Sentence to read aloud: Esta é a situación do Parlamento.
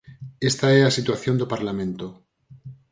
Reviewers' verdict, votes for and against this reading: accepted, 4, 0